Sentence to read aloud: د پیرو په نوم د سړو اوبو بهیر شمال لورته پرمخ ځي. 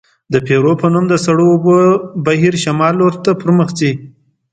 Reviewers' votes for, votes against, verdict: 2, 0, accepted